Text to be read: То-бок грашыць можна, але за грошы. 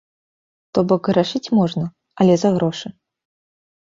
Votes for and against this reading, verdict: 2, 0, accepted